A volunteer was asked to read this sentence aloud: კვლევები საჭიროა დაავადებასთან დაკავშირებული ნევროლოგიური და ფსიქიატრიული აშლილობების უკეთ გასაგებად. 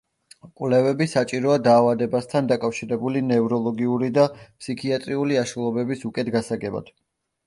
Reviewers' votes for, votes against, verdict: 2, 0, accepted